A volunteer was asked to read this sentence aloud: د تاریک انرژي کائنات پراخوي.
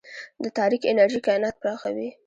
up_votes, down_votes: 1, 2